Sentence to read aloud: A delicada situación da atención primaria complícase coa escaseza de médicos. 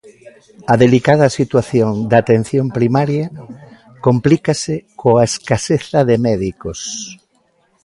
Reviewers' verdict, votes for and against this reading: rejected, 0, 2